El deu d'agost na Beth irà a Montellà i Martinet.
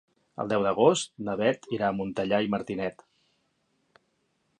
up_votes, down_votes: 3, 0